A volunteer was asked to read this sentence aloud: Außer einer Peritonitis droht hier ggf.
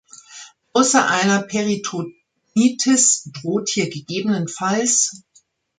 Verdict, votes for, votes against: rejected, 1, 2